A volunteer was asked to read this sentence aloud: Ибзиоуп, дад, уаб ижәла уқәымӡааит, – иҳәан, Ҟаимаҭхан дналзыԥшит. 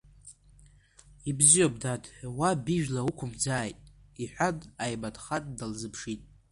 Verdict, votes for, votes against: accepted, 2, 0